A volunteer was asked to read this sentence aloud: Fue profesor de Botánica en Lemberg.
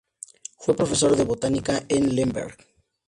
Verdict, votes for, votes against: accepted, 2, 0